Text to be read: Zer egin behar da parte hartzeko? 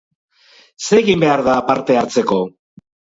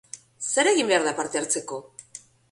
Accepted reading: second